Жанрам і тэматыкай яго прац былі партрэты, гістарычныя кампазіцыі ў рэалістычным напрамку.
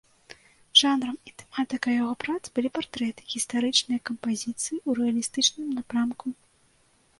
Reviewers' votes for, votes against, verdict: 2, 0, accepted